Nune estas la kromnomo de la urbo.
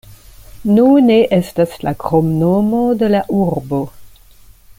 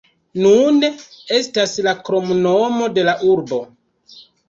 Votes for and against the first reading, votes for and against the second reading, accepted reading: 2, 0, 1, 2, first